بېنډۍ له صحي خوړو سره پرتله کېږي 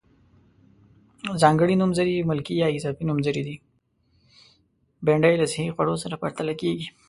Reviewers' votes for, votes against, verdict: 1, 2, rejected